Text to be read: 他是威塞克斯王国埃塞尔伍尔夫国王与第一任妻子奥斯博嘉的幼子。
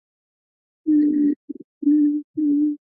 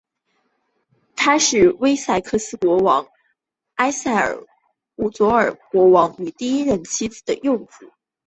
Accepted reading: second